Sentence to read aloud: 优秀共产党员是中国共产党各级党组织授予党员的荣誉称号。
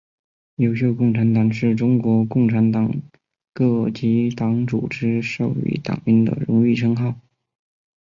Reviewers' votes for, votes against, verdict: 4, 3, accepted